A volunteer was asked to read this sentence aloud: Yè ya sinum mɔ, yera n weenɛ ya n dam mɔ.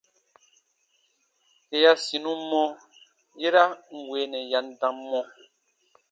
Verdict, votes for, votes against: accepted, 2, 1